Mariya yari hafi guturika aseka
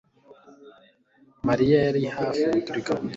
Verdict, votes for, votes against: rejected, 1, 2